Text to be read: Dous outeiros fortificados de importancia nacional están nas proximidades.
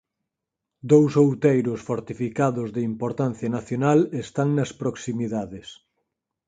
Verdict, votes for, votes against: rejected, 2, 4